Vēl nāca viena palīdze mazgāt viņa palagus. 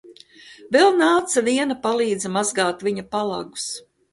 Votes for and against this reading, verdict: 2, 0, accepted